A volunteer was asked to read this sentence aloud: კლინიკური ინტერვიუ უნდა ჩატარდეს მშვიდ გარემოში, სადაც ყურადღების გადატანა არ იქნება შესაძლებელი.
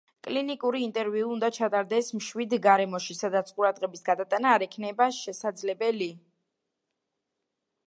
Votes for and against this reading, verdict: 2, 1, accepted